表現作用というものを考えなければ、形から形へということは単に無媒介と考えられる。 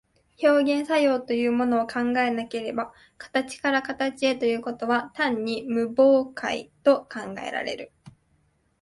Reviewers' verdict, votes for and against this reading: rejected, 1, 2